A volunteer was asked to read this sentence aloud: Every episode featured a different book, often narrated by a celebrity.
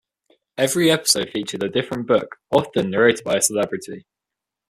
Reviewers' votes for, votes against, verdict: 2, 0, accepted